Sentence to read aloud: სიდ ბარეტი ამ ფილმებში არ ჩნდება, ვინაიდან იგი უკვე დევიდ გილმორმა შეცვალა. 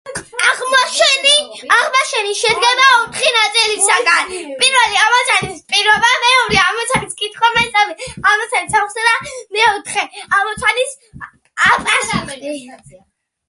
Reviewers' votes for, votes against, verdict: 0, 2, rejected